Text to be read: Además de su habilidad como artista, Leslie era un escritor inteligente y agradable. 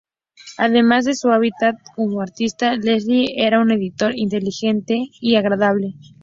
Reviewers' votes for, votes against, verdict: 2, 2, rejected